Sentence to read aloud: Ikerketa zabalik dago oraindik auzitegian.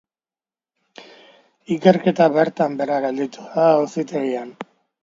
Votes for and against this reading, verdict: 0, 2, rejected